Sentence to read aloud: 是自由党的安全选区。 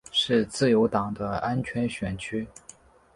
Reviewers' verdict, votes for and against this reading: accepted, 2, 0